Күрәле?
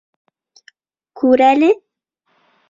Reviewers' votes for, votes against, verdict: 2, 0, accepted